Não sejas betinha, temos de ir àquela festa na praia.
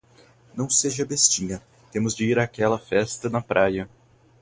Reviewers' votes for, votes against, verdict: 2, 2, rejected